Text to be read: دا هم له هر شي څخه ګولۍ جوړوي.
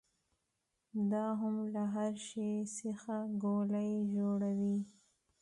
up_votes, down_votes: 2, 0